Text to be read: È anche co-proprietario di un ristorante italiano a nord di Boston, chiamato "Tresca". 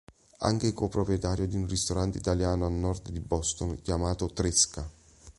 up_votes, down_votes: 1, 2